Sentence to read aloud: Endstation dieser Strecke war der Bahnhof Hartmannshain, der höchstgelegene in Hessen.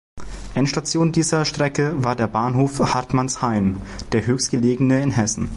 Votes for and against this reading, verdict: 2, 0, accepted